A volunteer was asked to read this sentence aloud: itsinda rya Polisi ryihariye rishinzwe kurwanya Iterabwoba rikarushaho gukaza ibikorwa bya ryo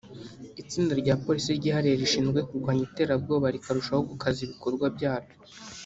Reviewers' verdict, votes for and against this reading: accepted, 2, 0